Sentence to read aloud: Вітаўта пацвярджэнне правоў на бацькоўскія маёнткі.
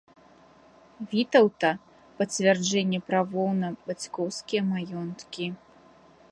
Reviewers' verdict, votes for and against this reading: rejected, 1, 2